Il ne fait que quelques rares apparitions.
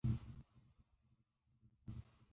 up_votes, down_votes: 0, 2